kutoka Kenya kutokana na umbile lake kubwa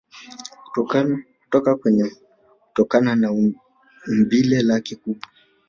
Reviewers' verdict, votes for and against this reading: rejected, 1, 2